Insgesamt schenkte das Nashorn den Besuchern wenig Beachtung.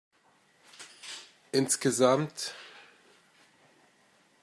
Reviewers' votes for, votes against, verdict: 0, 2, rejected